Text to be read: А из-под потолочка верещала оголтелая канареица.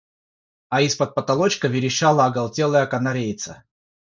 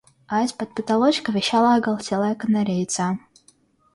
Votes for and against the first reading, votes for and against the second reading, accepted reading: 6, 0, 1, 2, first